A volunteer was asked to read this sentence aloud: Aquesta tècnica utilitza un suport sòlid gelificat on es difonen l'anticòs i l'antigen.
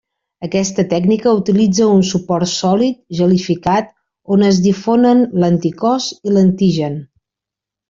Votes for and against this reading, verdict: 3, 1, accepted